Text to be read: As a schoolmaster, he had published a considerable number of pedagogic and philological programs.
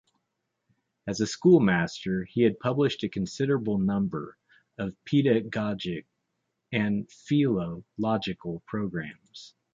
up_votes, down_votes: 1, 2